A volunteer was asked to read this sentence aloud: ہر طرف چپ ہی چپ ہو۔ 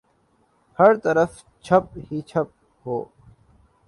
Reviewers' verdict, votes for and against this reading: rejected, 1, 2